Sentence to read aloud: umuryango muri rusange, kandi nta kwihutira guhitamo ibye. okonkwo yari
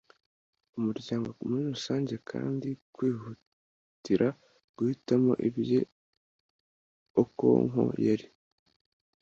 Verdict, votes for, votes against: rejected, 1, 2